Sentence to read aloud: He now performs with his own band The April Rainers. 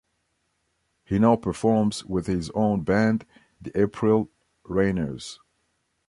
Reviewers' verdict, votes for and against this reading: accepted, 2, 0